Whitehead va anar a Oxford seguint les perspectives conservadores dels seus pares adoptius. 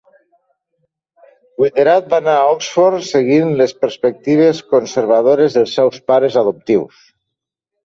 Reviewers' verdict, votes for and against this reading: rejected, 0, 2